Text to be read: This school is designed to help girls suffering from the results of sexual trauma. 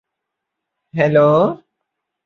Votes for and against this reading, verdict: 0, 2, rejected